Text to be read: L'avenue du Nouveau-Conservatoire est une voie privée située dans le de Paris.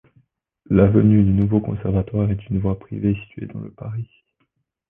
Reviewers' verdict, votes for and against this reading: rejected, 1, 2